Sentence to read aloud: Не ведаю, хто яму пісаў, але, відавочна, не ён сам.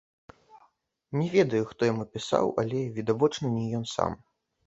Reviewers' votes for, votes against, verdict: 0, 2, rejected